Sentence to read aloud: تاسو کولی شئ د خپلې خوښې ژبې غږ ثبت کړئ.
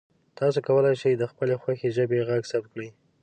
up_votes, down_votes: 2, 0